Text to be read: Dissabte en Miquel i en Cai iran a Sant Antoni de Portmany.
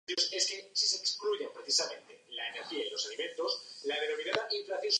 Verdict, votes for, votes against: rejected, 1, 2